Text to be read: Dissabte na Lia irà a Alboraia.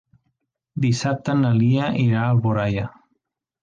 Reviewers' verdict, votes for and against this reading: accepted, 2, 0